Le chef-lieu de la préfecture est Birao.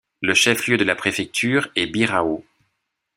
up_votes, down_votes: 2, 0